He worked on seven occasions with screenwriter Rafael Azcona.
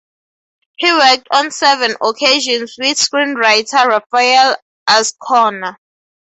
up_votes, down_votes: 2, 0